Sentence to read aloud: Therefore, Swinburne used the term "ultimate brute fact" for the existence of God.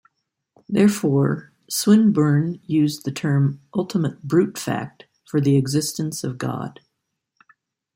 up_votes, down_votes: 2, 0